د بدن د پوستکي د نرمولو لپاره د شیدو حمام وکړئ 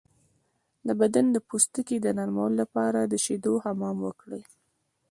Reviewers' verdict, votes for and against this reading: rejected, 1, 2